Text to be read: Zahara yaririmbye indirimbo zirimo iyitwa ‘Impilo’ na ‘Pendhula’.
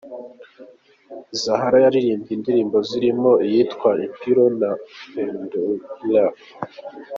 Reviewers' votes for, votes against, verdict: 2, 3, rejected